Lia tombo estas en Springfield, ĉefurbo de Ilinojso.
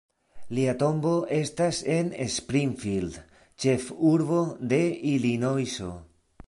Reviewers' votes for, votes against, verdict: 2, 0, accepted